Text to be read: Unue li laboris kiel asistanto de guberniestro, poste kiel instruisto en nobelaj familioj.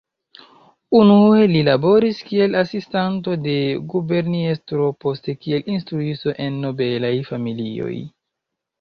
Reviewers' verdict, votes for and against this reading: accepted, 2, 1